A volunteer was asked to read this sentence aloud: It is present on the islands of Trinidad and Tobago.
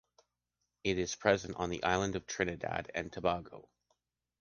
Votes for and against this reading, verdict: 1, 2, rejected